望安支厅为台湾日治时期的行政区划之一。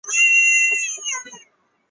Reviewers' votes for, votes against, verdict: 0, 6, rejected